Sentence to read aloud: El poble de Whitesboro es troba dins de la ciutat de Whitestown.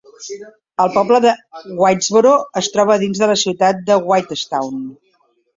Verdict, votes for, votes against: rejected, 1, 2